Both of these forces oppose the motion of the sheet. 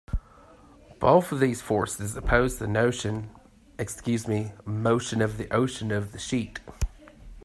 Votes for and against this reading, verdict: 1, 2, rejected